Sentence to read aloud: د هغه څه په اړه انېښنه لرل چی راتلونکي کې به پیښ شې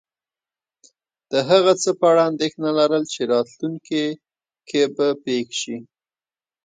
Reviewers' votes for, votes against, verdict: 2, 0, accepted